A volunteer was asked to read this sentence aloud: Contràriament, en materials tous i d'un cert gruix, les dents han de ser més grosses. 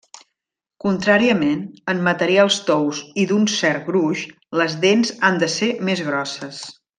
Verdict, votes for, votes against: rejected, 1, 2